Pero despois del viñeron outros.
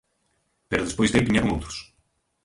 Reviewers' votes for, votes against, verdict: 0, 2, rejected